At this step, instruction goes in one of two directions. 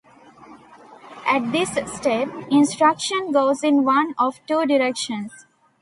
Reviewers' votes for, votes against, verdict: 2, 0, accepted